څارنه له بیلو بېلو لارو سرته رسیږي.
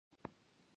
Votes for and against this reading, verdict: 0, 2, rejected